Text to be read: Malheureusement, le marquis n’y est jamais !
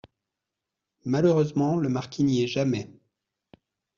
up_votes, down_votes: 2, 0